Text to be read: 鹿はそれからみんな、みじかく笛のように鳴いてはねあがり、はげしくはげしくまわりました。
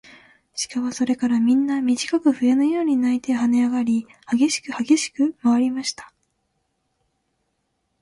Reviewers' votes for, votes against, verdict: 5, 0, accepted